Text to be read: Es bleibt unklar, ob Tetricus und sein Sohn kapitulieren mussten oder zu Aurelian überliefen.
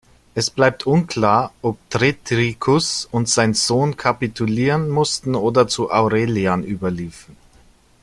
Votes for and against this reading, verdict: 0, 2, rejected